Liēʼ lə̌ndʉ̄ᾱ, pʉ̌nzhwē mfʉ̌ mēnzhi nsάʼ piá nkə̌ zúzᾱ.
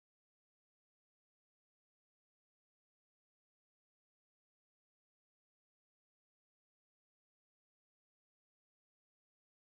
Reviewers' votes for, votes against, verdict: 0, 3, rejected